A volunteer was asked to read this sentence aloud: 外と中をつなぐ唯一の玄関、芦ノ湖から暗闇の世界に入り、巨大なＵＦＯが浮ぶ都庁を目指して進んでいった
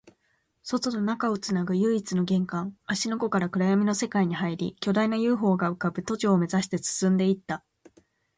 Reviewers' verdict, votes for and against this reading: accepted, 2, 0